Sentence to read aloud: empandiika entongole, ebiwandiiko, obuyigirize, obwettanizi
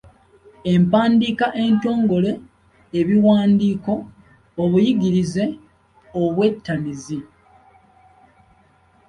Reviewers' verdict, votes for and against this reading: accepted, 2, 0